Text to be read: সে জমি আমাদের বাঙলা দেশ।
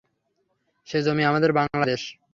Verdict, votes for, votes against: accepted, 3, 0